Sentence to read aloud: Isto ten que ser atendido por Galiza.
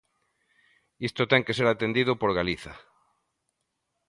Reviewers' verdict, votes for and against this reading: accepted, 2, 0